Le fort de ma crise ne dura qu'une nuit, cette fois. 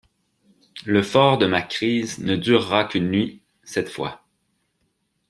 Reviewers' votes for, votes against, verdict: 2, 0, accepted